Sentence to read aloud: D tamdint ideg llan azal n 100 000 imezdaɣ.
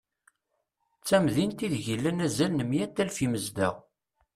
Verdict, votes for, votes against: rejected, 0, 2